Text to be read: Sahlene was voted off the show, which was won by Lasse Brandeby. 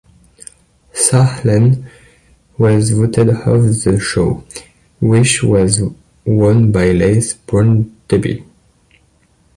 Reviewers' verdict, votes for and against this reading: rejected, 1, 2